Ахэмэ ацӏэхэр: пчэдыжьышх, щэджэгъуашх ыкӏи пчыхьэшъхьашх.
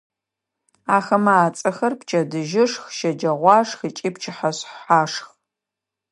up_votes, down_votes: 2, 0